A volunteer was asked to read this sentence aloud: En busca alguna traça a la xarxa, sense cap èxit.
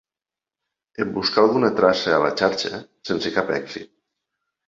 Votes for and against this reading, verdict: 1, 2, rejected